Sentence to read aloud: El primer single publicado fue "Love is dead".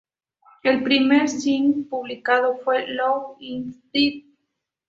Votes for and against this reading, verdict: 0, 2, rejected